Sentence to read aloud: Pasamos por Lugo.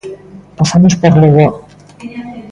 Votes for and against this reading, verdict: 1, 2, rejected